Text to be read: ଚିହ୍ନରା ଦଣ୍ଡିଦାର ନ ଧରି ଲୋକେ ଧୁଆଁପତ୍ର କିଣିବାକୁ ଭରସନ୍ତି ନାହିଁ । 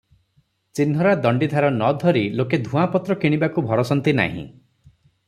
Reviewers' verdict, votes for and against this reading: rejected, 3, 3